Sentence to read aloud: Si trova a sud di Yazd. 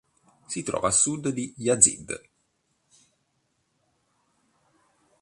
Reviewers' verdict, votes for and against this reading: accepted, 2, 0